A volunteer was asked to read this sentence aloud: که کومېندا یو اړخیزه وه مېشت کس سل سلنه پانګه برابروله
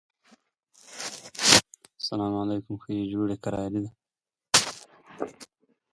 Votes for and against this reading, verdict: 0, 2, rejected